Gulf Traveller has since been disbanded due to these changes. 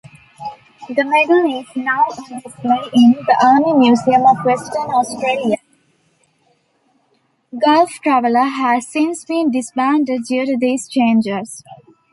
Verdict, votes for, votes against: rejected, 0, 2